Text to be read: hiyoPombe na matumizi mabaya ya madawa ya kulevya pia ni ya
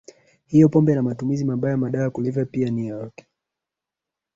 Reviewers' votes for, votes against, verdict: 2, 0, accepted